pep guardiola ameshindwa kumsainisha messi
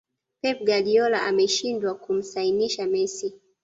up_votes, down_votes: 1, 2